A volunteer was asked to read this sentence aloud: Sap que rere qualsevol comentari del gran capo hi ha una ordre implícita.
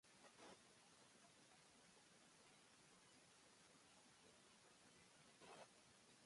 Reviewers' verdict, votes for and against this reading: rejected, 0, 3